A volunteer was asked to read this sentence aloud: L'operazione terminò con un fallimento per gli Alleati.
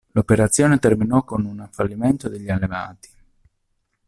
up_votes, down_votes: 0, 2